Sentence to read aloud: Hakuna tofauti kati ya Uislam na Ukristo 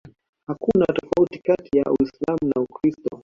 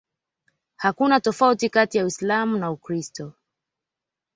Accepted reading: second